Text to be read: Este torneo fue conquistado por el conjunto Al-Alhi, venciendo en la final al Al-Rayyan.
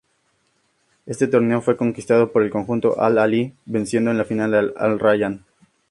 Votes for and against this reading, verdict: 4, 0, accepted